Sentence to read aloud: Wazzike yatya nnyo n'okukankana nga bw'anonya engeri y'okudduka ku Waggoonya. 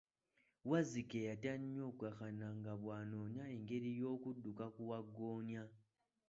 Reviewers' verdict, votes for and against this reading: rejected, 1, 2